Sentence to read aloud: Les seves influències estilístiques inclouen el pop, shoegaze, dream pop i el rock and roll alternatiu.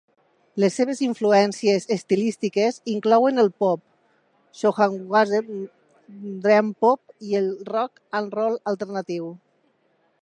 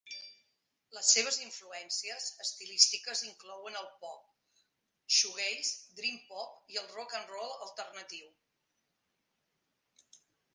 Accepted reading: second